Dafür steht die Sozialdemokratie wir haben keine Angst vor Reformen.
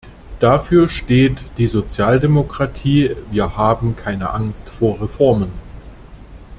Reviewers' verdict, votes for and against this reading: accepted, 2, 0